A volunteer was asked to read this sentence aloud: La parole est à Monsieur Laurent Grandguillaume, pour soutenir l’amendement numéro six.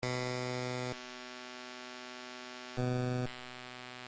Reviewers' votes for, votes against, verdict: 0, 2, rejected